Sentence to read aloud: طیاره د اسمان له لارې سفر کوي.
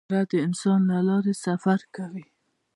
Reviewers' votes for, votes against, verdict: 2, 1, accepted